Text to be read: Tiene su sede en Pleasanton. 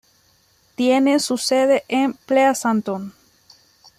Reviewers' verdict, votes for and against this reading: accepted, 2, 0